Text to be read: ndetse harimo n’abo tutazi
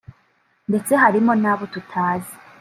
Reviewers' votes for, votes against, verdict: 3, 0, accepted